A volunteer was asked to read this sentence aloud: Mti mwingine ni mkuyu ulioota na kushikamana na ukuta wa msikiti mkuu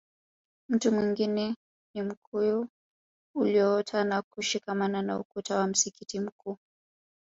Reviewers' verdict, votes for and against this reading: accepted, 2, 0